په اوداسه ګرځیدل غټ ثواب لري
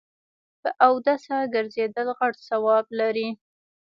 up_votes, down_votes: 1, 2